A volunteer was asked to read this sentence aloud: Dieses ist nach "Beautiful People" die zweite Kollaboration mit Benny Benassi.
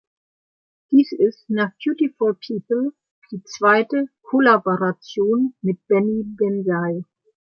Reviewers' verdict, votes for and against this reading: rejected, 0, 2